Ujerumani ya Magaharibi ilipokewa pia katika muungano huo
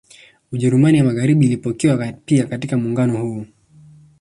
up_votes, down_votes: 1, 2